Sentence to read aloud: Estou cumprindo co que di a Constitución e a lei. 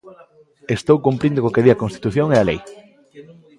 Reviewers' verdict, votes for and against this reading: accepted, 2, 0